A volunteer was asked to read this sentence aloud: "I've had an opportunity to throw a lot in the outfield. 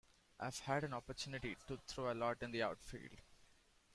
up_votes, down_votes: 2, 0